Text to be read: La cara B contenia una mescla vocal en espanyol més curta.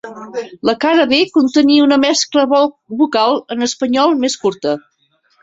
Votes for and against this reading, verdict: 1, 3, rejected